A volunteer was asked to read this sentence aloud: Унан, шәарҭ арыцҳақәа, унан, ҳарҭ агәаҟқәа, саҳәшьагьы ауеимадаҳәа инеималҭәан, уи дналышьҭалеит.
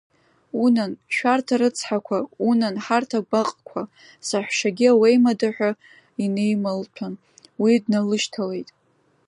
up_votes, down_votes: 2, 1